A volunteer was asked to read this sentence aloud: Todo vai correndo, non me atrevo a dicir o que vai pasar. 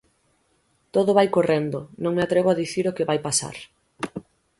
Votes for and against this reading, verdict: 6, 0, accepted